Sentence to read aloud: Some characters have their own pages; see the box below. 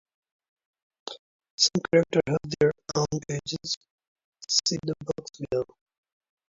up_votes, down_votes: 0, 2